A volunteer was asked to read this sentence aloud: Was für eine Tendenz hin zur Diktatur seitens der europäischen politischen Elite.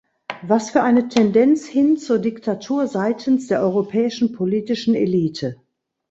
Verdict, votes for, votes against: accepted, 2, 0